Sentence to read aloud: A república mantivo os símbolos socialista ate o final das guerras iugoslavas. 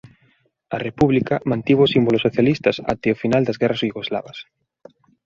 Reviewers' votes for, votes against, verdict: 1, 2, rejected